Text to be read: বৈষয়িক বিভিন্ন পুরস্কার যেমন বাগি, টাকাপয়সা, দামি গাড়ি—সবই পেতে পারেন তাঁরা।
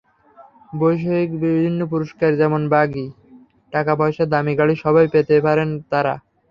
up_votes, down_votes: 0, 3